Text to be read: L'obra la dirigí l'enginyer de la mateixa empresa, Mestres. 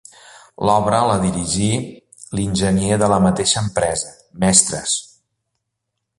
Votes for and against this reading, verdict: 3, 0, accepted